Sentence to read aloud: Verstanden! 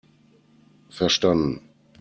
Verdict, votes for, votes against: accepted, 2, 0